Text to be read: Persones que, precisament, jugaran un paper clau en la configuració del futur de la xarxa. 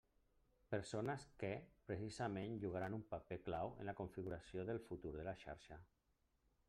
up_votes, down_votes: 1, 2